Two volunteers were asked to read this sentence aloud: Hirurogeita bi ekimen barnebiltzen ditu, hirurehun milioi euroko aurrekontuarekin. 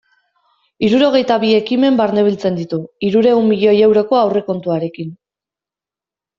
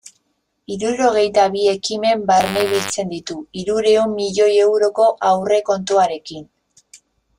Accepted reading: first